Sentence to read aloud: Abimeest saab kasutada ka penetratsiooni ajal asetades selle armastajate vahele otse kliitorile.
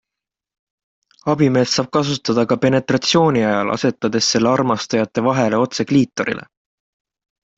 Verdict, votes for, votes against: accepted, 2, 0